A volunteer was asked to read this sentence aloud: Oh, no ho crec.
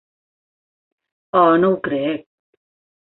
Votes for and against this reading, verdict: 3, 0, accepted